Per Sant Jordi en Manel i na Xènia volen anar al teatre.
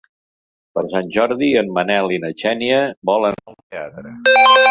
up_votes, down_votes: 1, 2